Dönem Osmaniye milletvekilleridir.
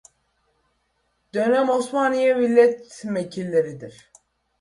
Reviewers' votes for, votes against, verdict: 1, 2, rejected